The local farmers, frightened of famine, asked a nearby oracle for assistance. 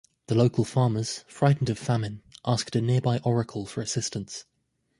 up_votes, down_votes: 2, 0